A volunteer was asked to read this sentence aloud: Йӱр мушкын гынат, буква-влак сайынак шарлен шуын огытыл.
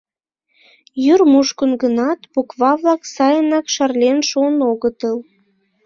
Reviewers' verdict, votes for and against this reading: accepted, 2, 0